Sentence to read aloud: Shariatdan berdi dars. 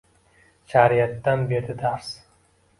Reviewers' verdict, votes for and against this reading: accepted, 2, 1